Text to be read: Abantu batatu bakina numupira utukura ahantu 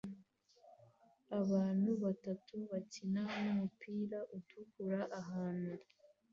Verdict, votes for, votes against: accepted, 2, 0